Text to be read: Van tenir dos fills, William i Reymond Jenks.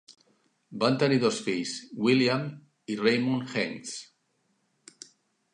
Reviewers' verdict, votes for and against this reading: rejected, 1, 3